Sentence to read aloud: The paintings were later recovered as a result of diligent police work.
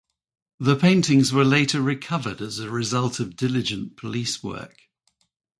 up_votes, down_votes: 2, 0